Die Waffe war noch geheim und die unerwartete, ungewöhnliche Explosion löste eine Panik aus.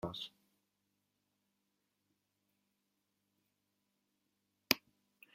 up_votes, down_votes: 0, 2